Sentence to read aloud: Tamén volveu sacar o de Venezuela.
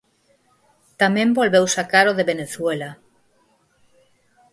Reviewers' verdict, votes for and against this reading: accepted, 4, 0